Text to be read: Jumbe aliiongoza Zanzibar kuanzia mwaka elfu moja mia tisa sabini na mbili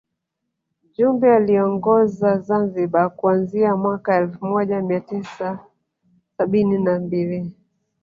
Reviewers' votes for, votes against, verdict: 3, 0, accepted